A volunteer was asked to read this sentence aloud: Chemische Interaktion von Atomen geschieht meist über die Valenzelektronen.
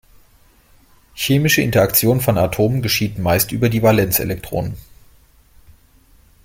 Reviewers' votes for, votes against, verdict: 2, 0, accepted